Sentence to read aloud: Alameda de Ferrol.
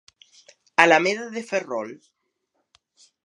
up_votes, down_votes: 2, 0